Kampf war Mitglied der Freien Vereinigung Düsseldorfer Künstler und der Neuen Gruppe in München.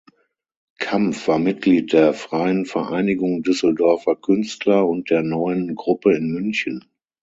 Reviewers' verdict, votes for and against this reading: accepted, 9, 0